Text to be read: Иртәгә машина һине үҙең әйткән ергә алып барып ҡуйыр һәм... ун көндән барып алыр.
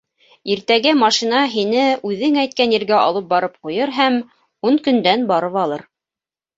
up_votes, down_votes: 2, 0